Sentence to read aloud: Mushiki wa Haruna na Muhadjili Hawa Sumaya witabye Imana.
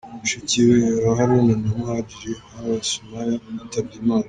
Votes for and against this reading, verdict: 2, 0, accepted